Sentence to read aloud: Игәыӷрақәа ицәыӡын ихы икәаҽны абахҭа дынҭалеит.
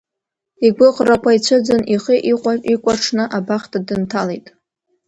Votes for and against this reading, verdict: 0, 2, rejected